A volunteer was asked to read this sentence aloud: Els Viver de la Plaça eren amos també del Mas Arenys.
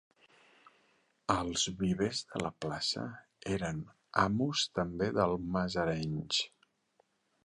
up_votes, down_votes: 0, 2